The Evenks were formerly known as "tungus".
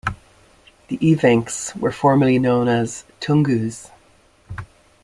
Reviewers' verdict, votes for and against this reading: accepted, 2, 0